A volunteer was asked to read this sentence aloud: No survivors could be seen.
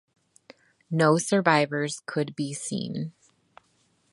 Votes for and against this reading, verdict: 2, 0, accepted